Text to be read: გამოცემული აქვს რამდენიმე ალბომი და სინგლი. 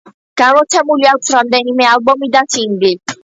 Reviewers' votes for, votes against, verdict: 1, 2, rejected